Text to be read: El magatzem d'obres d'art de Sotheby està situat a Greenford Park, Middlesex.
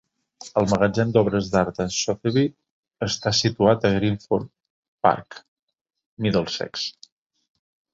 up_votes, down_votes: 2, 0